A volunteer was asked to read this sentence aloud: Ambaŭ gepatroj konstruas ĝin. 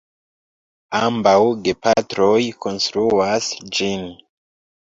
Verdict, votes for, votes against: rejected, 1, 2